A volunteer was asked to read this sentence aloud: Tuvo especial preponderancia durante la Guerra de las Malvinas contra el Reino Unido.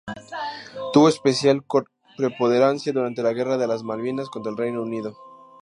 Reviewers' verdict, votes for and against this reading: accepted, 2, 0